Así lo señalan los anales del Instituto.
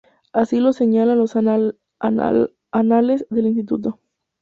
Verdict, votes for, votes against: rejected, 0, 4